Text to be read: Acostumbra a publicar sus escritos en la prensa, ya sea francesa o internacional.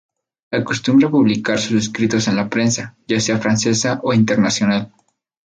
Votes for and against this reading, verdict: 2, 0, accepted